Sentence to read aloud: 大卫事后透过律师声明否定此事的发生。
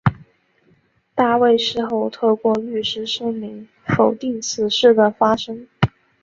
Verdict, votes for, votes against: accepted, 2, 0